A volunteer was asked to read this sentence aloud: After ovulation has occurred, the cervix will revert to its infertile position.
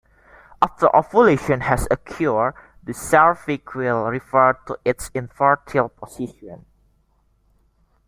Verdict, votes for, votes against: accepted, 2, 1